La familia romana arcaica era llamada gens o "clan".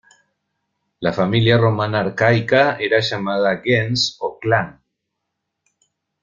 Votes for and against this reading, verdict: 2, 0, accepted